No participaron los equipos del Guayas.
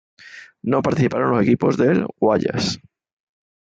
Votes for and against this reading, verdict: 2, 1, accepted